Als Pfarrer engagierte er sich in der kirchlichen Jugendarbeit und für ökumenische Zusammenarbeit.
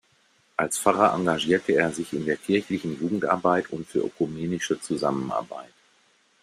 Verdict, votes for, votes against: accepted, 2, 0